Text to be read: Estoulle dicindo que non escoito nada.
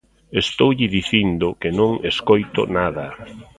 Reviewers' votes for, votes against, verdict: 2, 1, accepted